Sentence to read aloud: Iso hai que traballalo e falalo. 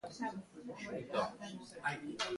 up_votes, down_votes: 0, 2